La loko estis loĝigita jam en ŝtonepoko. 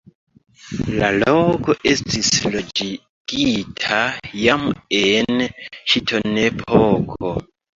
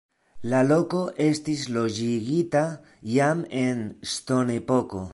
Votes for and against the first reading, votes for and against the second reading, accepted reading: 1, 2, 2, 1, second